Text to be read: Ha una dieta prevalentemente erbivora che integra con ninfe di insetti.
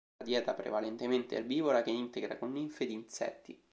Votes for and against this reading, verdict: 1, 2, rejected